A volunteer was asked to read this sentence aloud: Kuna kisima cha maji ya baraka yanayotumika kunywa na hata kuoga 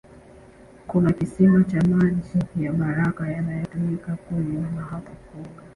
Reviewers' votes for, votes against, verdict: 1, 2, rejected